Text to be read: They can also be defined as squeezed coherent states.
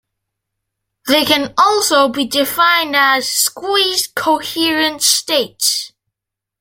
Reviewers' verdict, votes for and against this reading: accepted, 2, 0